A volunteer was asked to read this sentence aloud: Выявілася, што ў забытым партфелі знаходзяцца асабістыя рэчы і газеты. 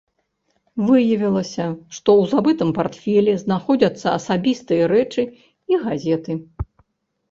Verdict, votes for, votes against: accepted, 3, 0